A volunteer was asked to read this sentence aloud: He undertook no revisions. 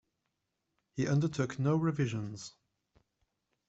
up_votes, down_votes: 2, 0